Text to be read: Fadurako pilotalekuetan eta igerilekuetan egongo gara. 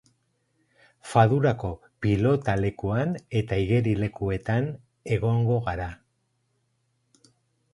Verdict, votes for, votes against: rejected, 2, 2